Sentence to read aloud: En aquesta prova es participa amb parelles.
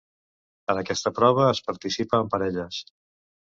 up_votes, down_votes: 2, 0